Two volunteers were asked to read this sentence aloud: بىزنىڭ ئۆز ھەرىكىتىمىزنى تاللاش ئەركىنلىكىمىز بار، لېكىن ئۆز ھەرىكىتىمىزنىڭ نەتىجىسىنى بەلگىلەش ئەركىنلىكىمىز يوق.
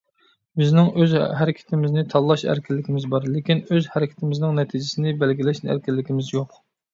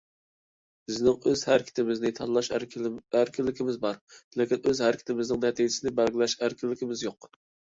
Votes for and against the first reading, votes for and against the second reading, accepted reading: 2, 1, 1, 2, first